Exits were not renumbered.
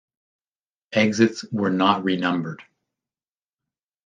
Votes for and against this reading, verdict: 2, 0, accepted